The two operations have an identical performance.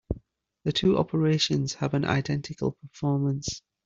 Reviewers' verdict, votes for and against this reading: accepted, 2, 0